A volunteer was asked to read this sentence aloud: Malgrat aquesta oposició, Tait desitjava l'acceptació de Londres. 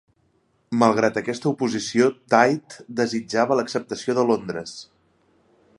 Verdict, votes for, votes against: accepted, 3, 0